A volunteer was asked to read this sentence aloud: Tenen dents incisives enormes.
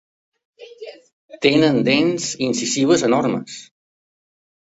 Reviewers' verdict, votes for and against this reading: accepted, 2, 0